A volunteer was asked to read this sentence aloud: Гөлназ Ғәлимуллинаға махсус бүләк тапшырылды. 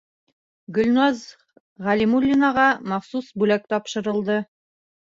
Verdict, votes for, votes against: rejected, 0, 2